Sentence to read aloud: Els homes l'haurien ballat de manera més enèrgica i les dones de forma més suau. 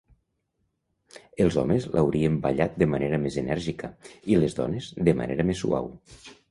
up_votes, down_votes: 2, 3